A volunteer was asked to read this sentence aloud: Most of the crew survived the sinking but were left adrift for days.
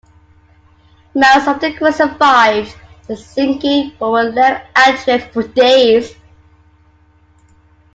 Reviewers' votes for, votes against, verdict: 1, 2, rejected